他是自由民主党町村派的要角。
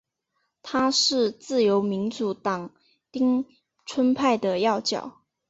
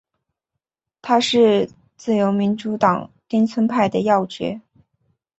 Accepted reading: second